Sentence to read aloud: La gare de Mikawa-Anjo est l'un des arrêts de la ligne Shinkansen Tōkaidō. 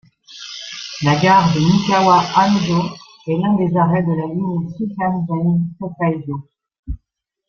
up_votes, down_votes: 1, 2